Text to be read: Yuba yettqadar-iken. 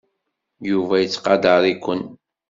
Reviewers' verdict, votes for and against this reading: accepted, 2, 0